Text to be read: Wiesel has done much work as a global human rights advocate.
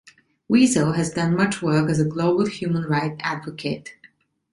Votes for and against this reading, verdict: 1, 2, rejected